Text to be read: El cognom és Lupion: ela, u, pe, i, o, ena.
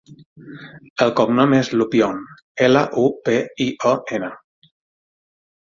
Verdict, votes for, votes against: accepted, 6, 3